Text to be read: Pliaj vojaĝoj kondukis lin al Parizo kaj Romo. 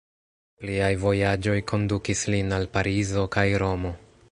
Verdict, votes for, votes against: rejected, 0, 2